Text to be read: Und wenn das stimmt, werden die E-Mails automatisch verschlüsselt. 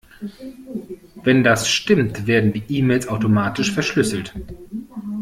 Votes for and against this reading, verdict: 1, 2, rejected